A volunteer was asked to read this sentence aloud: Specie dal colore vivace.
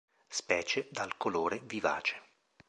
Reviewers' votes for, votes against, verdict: 2, 0, accepted